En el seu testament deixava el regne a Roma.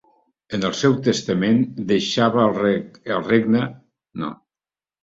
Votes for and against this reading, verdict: 0, 2, rejected